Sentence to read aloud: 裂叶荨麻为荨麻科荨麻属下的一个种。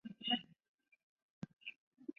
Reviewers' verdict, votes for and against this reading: rejected, 0, 3